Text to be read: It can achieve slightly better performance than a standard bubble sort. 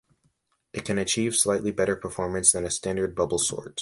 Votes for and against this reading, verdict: 2, 0, accepted